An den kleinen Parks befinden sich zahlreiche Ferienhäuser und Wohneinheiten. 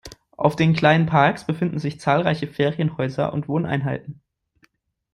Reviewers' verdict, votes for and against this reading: rejected, 0, 2